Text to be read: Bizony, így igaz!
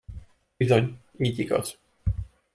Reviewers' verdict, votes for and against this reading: accepted, 2, 0